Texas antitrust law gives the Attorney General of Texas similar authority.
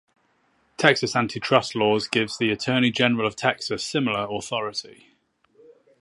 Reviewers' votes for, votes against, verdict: 2, 4, rejected